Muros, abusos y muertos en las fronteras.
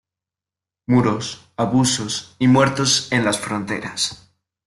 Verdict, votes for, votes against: accepted, 2, 1